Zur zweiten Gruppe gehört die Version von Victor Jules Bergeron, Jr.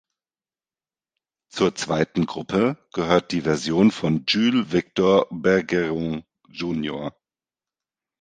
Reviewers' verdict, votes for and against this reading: rejected, 1, 2